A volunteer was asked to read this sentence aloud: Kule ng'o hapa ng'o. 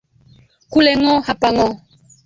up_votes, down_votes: 1, 2